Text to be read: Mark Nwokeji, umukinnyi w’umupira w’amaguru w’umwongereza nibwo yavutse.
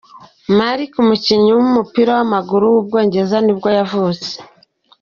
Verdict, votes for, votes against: rejected, 1, 2